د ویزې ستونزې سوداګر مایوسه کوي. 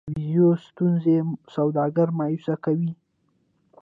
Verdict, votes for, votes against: accepted, 2, 1